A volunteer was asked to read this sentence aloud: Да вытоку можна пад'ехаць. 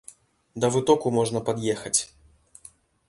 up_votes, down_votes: 2, 0